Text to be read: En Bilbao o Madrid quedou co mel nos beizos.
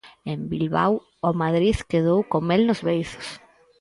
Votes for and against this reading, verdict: 2, 2, rejected